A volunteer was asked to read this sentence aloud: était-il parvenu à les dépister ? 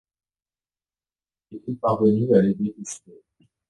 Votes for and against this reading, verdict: 1, 2, rejected